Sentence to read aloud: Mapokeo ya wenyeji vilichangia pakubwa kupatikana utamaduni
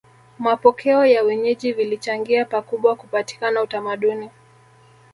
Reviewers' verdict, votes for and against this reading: rejected, 1, 2